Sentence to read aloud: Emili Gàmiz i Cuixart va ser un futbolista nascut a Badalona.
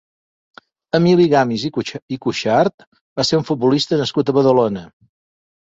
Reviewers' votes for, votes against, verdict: 0, 2, rejected